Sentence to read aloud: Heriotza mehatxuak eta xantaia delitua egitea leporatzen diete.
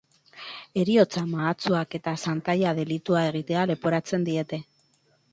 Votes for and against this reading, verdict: 0, 6, rejected